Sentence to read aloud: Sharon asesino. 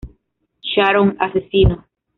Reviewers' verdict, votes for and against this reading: accepted, 2, 0